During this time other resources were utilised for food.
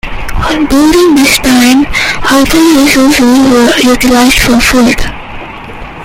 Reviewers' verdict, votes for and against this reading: rejected, 0, 2